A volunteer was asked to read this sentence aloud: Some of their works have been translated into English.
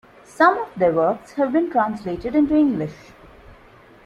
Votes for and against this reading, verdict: 2, 0, accepted